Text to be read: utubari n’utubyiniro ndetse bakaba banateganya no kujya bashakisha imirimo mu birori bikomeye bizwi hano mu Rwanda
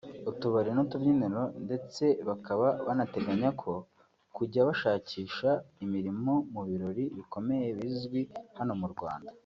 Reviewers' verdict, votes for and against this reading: rejected, 0, 2